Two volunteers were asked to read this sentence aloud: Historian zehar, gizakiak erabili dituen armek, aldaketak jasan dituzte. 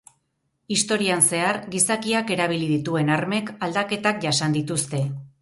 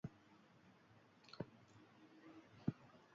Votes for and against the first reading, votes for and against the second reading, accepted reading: 2, 0, 0, 2, first